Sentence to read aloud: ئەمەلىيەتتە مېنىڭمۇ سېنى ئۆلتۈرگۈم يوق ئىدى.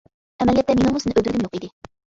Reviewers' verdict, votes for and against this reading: rejected, 0, 2